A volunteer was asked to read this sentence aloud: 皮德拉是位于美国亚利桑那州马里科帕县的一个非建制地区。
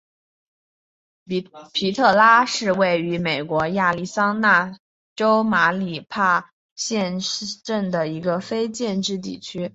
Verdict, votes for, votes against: rejected, 2, 3